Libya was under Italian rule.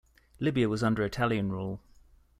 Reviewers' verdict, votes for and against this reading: accepted, 2, 0